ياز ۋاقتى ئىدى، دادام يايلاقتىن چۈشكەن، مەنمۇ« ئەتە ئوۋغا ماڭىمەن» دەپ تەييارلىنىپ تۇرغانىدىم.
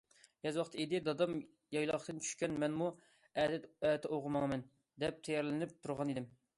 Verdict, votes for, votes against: rejected, 0, 2